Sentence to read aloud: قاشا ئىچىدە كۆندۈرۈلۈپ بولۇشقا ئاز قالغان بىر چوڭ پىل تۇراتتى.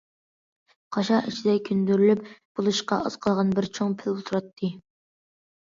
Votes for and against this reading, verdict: 2, 0, accepted